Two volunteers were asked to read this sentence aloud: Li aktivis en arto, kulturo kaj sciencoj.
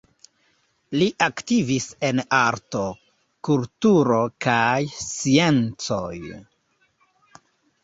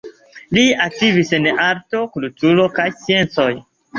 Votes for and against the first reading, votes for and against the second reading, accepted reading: 1, 2, 2, 0, second